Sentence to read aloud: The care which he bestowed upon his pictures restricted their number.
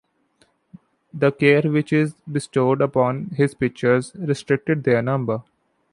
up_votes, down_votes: 0, 2